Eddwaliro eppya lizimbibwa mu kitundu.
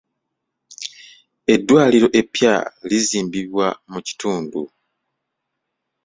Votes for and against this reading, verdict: 2, 0, accepted